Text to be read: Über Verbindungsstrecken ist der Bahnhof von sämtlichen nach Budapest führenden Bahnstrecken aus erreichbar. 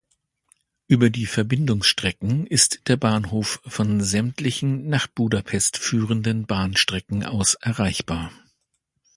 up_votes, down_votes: 1, 2